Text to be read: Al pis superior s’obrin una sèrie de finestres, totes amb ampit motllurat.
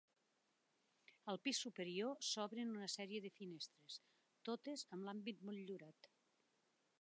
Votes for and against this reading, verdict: 2, 1, accepted